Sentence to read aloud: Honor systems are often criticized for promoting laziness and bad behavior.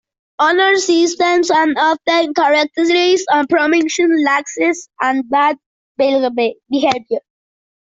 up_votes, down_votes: 0, 2